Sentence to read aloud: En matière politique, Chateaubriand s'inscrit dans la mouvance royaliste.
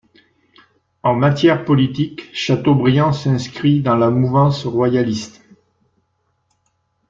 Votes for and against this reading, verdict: 2, 0, accepted